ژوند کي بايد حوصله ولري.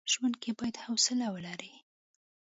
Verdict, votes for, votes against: rejected, 1, 2